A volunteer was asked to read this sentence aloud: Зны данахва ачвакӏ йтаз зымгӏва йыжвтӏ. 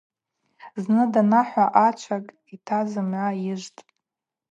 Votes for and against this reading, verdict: 2, 0, accepted